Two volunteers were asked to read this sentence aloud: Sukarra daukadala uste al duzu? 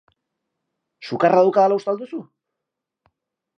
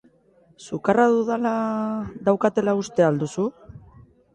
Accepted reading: first